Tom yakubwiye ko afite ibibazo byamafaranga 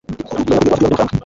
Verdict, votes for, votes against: rejected, 1, 2